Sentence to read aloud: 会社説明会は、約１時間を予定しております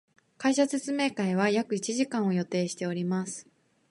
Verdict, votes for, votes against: rejected, 0, 2